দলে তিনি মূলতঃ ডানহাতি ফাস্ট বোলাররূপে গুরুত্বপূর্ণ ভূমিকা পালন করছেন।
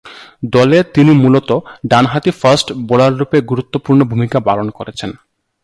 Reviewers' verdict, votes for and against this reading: accepted, 2, 0